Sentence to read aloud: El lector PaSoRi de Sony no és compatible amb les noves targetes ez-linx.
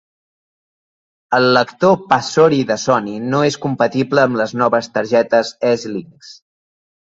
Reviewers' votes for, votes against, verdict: 2, 0, accepted